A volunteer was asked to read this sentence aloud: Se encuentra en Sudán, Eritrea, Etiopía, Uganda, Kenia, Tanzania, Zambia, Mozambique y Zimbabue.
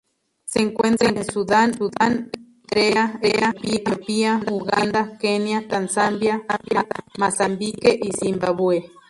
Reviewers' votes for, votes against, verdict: 0, 2, rejected